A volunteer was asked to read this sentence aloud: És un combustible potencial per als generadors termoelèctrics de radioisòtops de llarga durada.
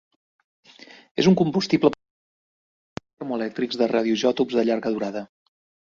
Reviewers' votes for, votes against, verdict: 0, 3, rejected